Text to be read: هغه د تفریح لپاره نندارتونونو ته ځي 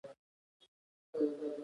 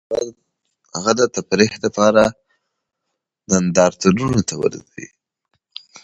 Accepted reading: second